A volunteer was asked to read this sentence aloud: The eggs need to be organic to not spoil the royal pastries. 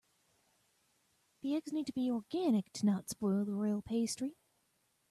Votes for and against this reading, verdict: 2, 1, accepted